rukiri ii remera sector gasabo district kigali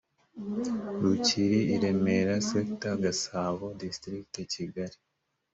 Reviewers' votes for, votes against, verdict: 2, 0, accepted